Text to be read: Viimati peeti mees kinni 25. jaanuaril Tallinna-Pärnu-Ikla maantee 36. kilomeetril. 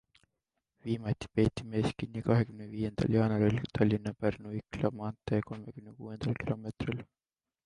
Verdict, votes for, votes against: rejected, 0, 2